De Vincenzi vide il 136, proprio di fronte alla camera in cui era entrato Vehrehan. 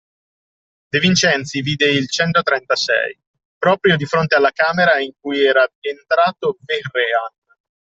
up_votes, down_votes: 0, 2